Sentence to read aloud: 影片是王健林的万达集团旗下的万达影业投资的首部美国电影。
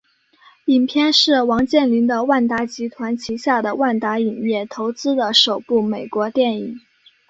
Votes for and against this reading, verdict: 6, 0, accepted